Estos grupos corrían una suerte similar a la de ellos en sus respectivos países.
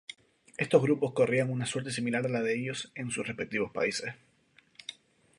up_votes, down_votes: 2, 0